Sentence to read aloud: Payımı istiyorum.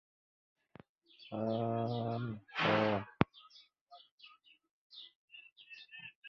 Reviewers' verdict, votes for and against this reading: rejected, 0, 2